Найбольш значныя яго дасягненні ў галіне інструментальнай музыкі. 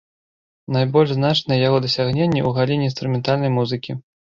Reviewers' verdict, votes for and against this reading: rejected, 0, 2